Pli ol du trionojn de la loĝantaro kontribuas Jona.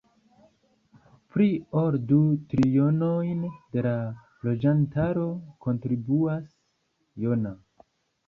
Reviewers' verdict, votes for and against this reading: accepted, 2, 1